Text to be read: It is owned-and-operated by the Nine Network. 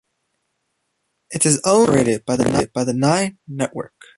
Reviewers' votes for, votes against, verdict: 0, 2, rejected